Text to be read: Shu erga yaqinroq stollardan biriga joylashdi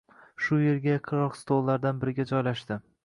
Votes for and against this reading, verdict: 1, 2, rejected